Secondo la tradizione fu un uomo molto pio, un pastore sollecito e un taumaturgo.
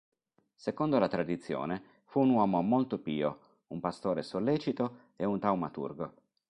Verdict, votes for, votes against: accepted, 4, 0